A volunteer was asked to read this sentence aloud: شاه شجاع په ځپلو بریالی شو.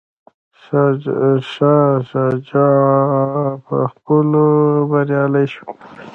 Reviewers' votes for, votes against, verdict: 1, 2, rejected